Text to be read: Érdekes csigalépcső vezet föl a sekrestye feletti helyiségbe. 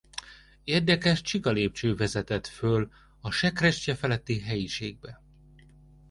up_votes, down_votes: 1, 2